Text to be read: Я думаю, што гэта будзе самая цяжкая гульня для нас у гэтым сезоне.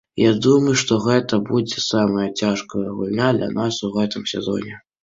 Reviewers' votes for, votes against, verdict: 2, 0, accepted